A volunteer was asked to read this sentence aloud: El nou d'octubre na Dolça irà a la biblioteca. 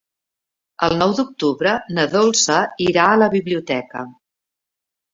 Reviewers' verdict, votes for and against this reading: accepted, 3, 0